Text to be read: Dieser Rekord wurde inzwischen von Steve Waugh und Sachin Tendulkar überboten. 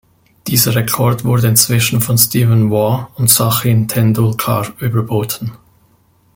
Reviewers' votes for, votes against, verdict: 0, 2, rejected